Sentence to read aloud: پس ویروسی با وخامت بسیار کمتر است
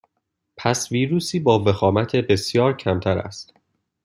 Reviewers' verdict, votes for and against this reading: accepted, 2, 0